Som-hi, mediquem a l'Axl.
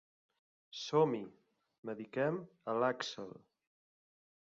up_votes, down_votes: 3, 0